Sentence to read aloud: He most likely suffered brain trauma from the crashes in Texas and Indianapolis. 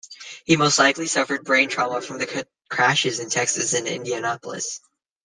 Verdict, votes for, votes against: rejected, 1, 2